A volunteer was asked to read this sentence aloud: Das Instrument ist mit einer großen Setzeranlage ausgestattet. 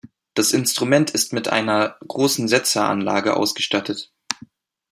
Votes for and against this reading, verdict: 2, 0, accepted